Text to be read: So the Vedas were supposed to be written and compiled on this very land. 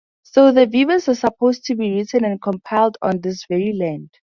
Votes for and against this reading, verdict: 2, 0, accepted